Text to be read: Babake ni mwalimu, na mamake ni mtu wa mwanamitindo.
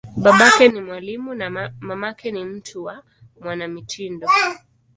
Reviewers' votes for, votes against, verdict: 1, 2, rejected